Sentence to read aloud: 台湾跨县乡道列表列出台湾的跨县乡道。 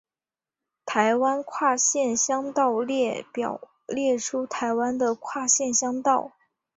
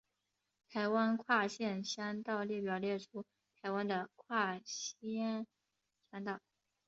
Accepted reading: first